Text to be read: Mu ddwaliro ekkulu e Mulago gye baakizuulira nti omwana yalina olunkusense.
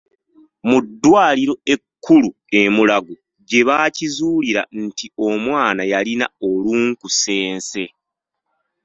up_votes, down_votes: 1, 2